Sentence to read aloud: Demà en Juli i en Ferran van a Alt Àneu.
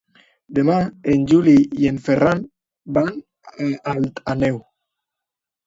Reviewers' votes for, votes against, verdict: 0, 2, rejected